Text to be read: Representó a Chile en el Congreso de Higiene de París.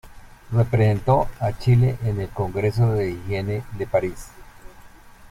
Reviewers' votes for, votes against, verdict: 1, 2, rejected